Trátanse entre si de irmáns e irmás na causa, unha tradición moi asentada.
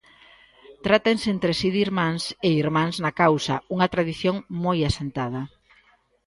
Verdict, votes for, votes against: accepted, 2, 0